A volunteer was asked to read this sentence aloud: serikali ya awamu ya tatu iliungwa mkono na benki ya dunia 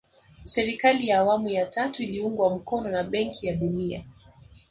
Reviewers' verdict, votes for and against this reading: accepted, 2, 1